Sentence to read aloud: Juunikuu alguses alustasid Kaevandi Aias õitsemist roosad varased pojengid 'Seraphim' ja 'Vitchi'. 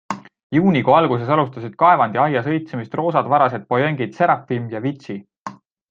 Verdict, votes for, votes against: accepted, 2, 0